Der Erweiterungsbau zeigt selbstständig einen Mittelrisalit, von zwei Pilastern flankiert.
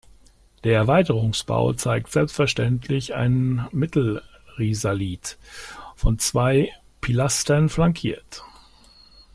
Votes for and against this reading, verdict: 1, 2, rejected